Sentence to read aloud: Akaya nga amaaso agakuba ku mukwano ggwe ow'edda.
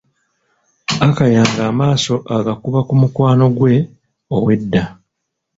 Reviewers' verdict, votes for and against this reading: accepted, 3, 0